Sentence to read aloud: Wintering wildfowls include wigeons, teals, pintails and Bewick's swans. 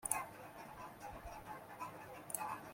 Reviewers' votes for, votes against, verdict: 0, 2, rejected